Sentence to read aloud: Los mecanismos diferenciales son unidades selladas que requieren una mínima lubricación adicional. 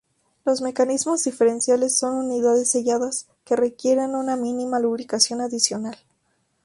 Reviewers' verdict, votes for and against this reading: accepted, 2, 0